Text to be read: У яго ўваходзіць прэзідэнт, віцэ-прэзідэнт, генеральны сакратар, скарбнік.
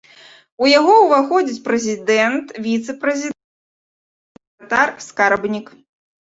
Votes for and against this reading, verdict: 0, 2, rejected